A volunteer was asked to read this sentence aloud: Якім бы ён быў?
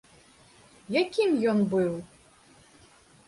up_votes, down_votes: 1, 2